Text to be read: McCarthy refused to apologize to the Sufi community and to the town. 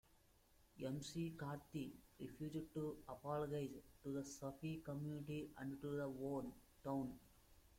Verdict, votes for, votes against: rejected, 0, 2